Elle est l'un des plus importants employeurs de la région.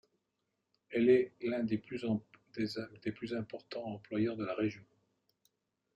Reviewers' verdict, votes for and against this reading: rejected, 0, 2